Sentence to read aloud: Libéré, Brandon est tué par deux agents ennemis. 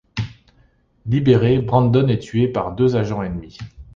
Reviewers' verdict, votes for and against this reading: accepted, 2, 0